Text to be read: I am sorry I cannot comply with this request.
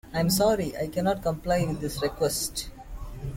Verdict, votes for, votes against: rejected, 0, 2